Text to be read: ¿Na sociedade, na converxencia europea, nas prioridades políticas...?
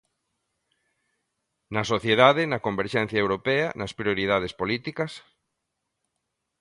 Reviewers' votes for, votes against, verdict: 2, 0, accepted